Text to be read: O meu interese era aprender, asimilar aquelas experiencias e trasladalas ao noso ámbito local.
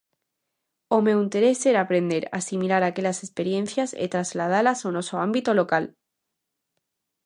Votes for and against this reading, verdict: 2, 0, accepted